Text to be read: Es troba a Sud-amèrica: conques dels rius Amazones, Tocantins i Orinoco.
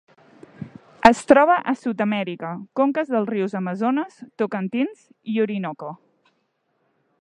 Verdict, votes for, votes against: accepted, 3, 0